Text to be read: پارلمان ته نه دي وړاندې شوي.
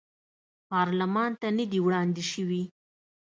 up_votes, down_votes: 2, 0